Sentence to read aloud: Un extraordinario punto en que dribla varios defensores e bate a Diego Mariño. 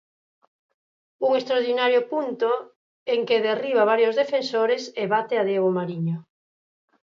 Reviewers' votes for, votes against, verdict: 0, 4, rejected